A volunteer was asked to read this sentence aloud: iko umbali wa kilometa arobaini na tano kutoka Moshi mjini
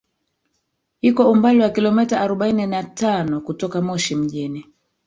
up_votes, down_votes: 1, 2